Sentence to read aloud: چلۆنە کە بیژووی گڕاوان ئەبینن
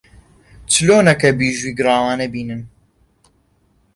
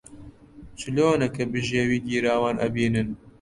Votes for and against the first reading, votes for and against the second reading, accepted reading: 2, 0, 1, 2, first